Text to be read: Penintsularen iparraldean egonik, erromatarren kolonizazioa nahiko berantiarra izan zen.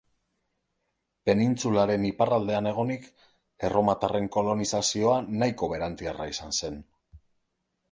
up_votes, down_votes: 2, 0